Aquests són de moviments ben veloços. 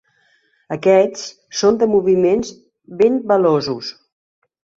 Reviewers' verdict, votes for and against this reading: accepted, 2, 1